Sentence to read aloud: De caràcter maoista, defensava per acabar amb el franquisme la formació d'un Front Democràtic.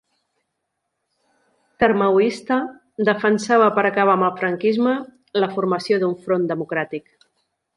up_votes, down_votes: 1, 2